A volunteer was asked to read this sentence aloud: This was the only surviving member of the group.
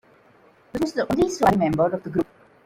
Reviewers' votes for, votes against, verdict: 1, 2, rejected